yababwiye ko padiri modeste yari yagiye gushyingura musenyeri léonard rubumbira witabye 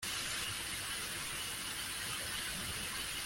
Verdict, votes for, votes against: rejected, 0, 2